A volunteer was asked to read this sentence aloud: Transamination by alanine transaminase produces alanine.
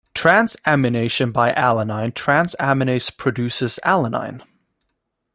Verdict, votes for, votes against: accepted, 2, 0